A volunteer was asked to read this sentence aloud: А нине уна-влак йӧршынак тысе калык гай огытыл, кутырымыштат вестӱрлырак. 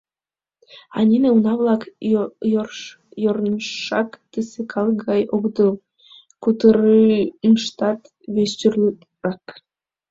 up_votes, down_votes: 1, 2